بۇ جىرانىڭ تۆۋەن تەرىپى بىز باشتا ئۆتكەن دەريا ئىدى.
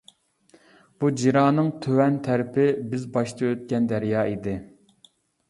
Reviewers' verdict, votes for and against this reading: accepted, 2, 0